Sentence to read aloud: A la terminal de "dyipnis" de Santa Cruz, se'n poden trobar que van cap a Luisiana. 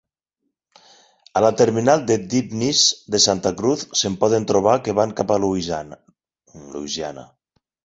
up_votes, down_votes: 2, 6